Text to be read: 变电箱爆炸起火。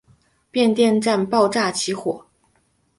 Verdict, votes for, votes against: accepted, 3, 1